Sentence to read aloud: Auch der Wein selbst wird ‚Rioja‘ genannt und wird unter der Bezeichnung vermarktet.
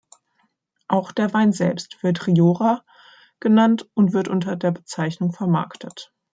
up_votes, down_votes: 1, 2